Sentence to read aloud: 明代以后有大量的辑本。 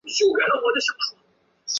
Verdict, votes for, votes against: rejected, 0, 2